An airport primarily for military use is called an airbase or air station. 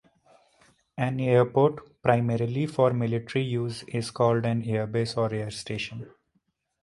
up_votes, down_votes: 2, 0